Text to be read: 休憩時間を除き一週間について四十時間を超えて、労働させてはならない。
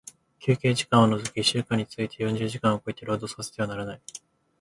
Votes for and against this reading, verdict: 2, 1, accepted